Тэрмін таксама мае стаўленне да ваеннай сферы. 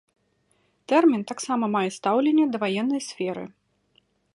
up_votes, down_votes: 2, 0